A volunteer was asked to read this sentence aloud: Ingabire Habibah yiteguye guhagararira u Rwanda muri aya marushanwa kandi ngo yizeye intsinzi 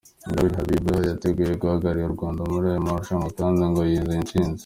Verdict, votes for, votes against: rejected, 0, 2